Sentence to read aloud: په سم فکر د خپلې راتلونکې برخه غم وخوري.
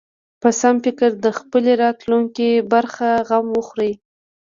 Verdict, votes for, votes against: accepted, 2, 0